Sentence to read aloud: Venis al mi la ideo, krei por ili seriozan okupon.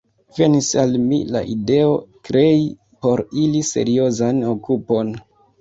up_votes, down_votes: 2, 0